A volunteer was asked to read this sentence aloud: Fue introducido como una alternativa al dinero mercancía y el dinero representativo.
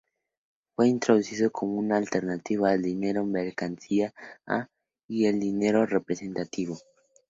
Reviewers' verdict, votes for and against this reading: rejected, 0, 2